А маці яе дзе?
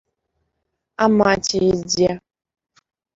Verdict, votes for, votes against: rejected, 0, 2